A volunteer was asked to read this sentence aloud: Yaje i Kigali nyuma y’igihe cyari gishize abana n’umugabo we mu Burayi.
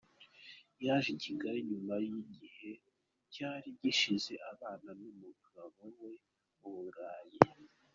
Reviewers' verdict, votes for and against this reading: accepted, 2, 0